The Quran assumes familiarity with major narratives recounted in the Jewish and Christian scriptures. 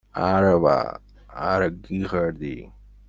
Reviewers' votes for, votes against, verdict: 0, 2, rejected